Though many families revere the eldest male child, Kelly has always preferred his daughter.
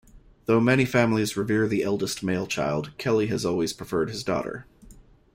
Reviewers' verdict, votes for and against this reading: accepted, 2, 0